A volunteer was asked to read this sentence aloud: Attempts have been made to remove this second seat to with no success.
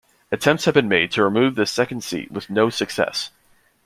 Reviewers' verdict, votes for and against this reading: accepted, 2, 0